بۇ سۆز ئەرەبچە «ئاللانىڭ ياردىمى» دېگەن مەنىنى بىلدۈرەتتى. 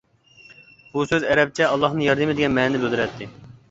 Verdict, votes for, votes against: rejected, 0, 2